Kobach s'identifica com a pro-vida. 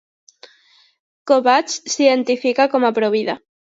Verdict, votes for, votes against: accepted, 2, 0